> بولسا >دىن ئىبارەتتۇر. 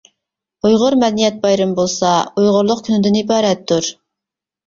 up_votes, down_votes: 2, 0